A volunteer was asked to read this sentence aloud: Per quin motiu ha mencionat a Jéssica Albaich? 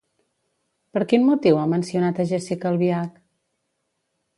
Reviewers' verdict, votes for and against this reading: rejected, 1, 2